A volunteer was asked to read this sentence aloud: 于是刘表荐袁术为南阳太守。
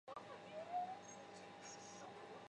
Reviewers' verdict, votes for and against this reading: rejected, 1, 3